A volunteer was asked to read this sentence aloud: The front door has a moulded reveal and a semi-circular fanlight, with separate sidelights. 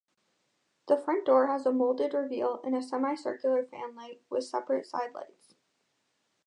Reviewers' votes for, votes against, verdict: 2, 0, accepted